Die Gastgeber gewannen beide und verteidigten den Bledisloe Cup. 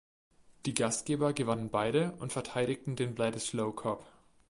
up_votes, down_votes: 2, 0